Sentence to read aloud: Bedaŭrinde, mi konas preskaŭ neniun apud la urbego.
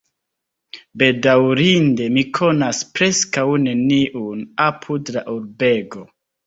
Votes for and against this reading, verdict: 2, 0, accepted